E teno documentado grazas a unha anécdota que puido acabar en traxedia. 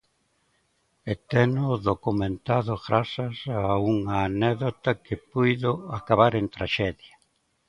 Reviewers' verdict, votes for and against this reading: accepted, 2, 1